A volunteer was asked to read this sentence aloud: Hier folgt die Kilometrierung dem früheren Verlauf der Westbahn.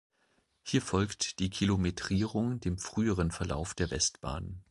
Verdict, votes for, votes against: accepted, 2, 0